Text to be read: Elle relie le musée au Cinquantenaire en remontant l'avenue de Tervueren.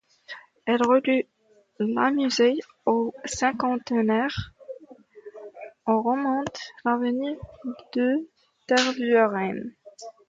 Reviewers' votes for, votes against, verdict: 1, 2, rejected